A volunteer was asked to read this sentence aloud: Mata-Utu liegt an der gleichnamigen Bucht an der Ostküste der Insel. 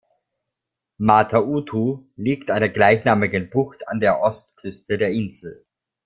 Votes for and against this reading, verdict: 2, 0, accepted